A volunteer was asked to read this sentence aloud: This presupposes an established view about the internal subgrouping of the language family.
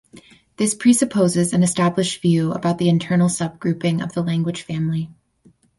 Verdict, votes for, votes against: accepted, 4, 0